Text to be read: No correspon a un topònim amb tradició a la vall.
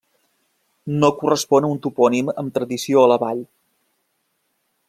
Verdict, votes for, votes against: accepted, 3, 0